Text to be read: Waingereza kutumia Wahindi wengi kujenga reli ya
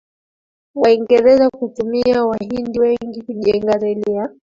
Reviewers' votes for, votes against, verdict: 1, 2, rejected